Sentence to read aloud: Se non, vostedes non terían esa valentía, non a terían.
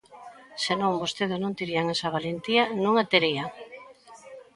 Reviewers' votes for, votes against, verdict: 2, 0, accepted